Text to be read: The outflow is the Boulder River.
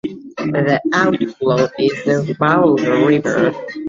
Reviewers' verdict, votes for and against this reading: rejected, 0, 2